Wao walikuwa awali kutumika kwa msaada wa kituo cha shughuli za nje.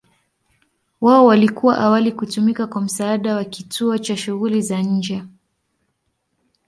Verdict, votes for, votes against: accepted, 2, 0